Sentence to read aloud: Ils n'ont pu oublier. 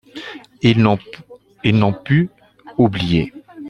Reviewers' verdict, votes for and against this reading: rejected, 0, 3